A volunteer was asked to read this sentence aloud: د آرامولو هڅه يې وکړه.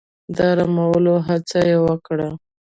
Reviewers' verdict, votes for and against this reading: accepted, 2, 0